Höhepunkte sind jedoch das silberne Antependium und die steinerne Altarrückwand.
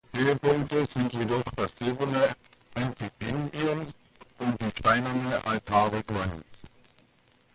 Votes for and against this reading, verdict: 2, 1, accepted